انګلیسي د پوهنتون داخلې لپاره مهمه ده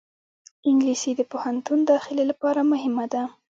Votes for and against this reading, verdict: 0, 2, rejected